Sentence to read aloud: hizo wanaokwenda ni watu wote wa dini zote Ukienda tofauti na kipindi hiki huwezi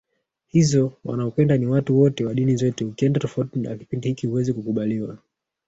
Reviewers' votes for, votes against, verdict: 1, 2, rejected